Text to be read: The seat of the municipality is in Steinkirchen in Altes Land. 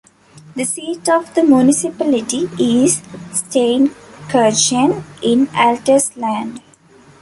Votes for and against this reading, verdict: 1, 2, rejected